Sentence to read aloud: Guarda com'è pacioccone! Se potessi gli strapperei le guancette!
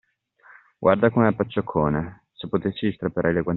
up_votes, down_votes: 0, 2